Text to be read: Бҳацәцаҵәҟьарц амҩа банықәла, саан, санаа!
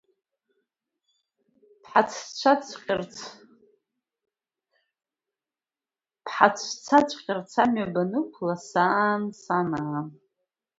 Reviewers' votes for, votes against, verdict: 0, 2, rejected